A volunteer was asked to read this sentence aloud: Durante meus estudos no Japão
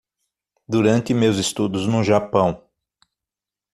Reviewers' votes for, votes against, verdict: 6, 0, accepted